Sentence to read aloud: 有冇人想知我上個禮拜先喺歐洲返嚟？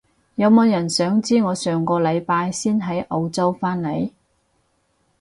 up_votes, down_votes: 2, 2